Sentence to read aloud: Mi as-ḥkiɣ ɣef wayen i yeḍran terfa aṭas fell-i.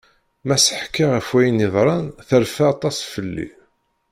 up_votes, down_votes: 1, 2